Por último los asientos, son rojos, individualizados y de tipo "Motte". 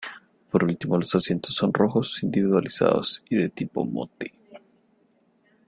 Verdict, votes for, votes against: rejected, 1, 2